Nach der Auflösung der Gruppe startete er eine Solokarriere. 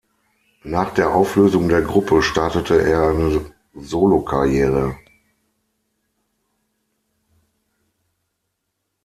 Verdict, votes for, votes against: rejected, 0, 6